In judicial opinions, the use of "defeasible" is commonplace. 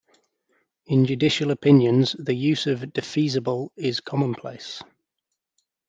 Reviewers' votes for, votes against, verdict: 2, 0, accepted